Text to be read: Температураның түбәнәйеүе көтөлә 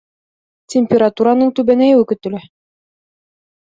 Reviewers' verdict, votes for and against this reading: accepted, 2, 0